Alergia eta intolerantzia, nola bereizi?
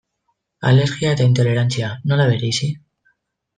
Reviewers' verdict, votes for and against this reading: rejected, 1, 2